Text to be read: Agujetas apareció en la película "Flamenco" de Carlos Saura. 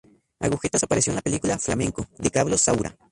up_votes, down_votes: 0, 2